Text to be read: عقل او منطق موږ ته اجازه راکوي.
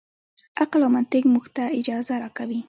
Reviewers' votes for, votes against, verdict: 2, 0, accepted